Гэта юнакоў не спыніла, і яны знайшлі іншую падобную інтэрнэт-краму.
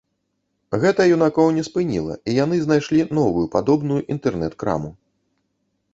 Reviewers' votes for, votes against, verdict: 1, 2, rejected